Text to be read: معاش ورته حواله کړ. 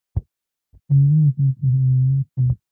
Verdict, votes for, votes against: rejected, 0, 2